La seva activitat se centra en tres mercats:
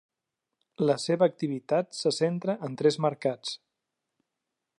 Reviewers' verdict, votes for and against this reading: accepted, 3, 0